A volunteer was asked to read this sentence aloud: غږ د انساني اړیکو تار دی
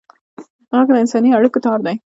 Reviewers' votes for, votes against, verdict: 1, 2, rejected